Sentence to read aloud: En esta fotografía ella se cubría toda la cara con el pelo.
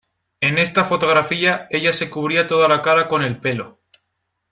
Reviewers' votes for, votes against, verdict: 2, 0, accepted